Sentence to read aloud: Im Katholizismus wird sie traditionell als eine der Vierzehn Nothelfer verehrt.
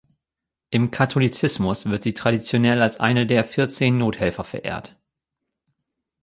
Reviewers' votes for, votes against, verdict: 2, 0, accepted